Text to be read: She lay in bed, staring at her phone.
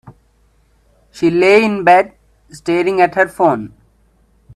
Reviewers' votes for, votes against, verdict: 2, 0, accepted